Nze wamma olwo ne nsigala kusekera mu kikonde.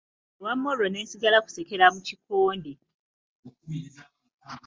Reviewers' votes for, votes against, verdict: 1, 2, rejected